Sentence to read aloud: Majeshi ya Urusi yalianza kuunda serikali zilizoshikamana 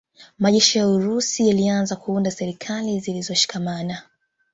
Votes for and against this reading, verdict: 0, 2, rejected